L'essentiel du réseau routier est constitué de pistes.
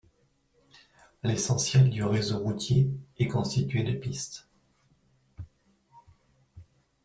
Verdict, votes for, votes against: accepted, 2, 0